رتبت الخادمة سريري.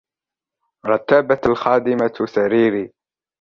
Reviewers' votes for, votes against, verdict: 0, 2, rejected